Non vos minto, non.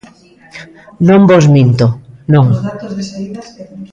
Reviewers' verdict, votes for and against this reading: rejected, 0, 2